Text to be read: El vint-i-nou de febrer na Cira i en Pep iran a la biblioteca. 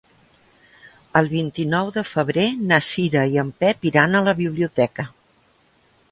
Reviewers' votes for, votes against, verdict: 3, 0, accepted